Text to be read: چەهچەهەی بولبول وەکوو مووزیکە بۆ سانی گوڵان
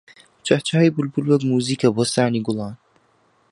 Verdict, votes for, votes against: rejected, 1, 2